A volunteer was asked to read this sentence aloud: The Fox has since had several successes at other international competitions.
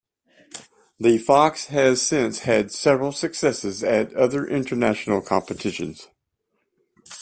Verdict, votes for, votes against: accepted, 2, 0